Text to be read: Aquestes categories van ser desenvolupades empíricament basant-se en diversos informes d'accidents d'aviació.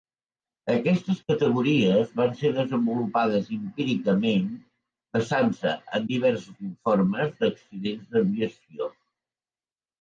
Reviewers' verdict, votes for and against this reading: accepted, 2, 0